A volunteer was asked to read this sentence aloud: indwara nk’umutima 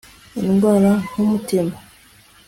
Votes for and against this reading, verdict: 2, 0, accepted